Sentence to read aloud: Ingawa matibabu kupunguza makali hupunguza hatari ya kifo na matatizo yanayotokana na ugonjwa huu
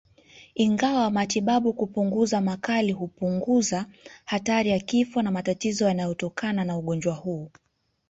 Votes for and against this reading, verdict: 2, 0, accepted